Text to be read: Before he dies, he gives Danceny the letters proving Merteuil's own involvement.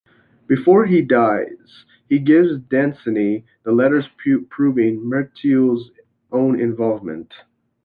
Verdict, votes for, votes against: rejected, 1, 2